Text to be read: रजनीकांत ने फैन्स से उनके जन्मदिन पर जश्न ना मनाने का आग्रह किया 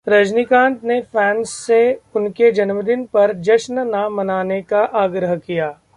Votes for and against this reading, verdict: 0, 2, rejected